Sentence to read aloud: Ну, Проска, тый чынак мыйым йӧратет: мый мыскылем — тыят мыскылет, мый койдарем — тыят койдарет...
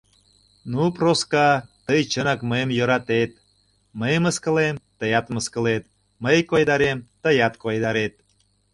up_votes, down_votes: 2, 0